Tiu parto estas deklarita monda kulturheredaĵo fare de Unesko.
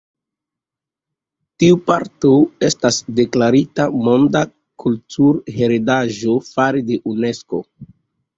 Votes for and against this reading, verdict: 2, 0, accepted